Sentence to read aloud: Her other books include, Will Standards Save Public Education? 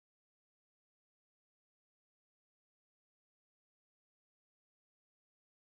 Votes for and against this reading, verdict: 1, 2, rejected